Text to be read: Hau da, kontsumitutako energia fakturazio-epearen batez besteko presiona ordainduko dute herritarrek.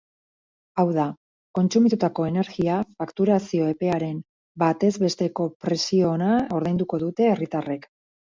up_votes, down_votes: 4, 0